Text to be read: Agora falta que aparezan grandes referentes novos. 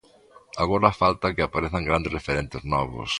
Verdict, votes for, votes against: accepted, 2, 0